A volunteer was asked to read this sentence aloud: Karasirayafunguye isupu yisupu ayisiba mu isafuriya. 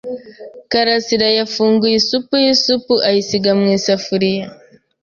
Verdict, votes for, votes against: rejected, 1, 2